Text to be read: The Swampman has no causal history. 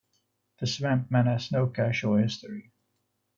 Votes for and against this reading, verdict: 1, 2, rejected